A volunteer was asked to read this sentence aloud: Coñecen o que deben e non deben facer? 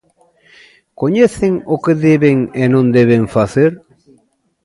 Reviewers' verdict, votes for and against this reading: rejected, 0, 2